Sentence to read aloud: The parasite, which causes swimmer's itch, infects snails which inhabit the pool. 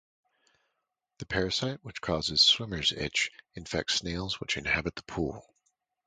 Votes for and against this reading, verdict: 4, 0, accepted